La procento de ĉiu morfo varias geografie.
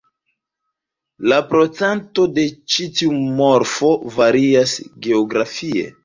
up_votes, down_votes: 2, 1